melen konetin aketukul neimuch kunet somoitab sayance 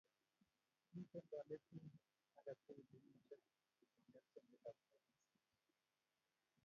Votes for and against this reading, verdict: 1, 2, rejected